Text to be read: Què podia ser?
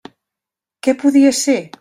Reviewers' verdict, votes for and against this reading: accepted, 3, 0